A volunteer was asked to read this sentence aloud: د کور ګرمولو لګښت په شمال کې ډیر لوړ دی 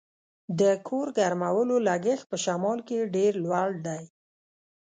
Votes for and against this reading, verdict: 1, 2, rejected